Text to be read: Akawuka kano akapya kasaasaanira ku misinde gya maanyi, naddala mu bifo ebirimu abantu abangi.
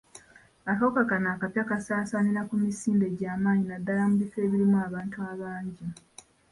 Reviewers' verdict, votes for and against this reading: rejected, 1, 2